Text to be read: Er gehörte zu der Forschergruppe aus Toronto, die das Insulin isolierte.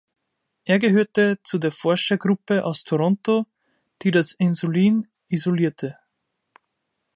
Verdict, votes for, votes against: accepted, 2, 0